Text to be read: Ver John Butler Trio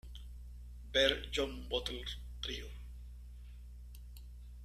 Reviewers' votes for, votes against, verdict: 0, 2, rejected